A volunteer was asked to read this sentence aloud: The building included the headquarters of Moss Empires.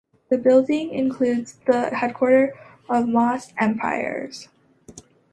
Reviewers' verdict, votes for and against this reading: accepted, 2, 1